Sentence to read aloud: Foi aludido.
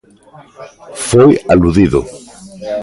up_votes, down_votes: 2, 1